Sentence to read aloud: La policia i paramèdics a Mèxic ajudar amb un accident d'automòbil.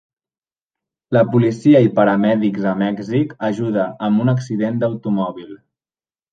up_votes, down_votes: 2, 1